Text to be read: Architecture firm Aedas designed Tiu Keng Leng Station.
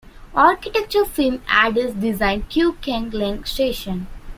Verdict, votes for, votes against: rejected, 1, 2